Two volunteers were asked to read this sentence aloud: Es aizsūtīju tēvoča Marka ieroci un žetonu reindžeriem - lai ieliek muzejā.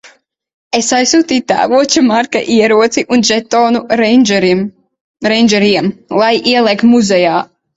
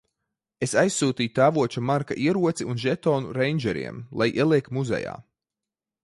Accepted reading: second